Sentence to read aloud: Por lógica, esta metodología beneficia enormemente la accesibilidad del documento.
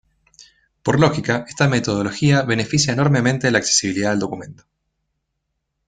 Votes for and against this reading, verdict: 2, 0, accepted